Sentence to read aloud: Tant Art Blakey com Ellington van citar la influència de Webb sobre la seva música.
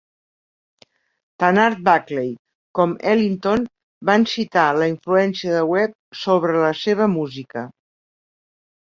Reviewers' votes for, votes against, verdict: 2, 0, accepted